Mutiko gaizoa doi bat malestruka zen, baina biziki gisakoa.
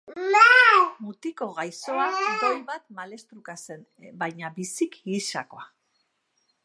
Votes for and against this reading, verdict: 0, 2, rejected